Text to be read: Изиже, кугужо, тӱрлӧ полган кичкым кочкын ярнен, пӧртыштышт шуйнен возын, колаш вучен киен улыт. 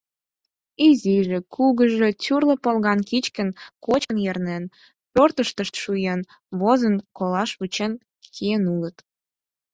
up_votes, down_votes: 0, 4